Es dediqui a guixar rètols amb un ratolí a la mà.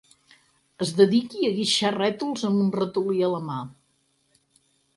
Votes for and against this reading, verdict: 6, 0, accepted